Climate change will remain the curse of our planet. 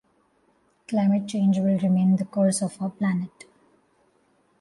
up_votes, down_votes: 2, 0